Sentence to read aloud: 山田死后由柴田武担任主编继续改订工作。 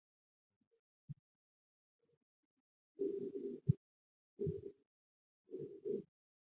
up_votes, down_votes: 2, 1